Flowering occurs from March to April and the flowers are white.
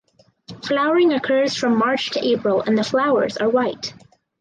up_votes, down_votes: 4, 0